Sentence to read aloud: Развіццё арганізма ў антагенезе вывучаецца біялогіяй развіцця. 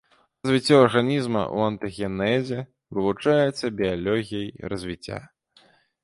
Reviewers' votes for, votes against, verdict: 1, 2, rejected